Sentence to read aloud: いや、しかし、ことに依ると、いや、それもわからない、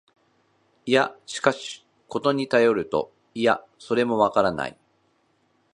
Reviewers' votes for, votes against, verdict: 1, 2, rejected